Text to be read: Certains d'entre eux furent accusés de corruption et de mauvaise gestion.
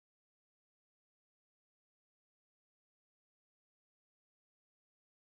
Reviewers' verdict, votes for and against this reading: rejected, 2, 4